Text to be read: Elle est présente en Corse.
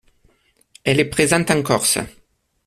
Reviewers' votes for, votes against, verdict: 2, 0, accepted